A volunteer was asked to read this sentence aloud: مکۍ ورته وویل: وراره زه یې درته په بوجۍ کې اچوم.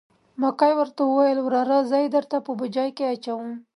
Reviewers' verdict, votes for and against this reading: accepted, 2, 0